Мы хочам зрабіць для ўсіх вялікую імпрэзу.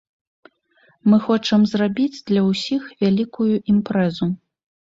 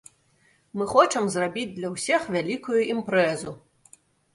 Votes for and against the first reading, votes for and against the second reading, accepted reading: 2, 0, 1, 2, first